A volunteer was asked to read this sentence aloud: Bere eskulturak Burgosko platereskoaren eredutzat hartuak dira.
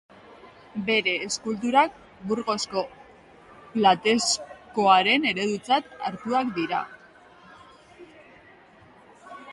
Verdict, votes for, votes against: rejected, 0, 2